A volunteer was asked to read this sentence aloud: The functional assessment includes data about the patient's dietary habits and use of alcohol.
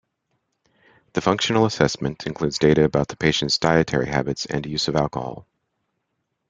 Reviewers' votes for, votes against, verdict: 2, 0, accepted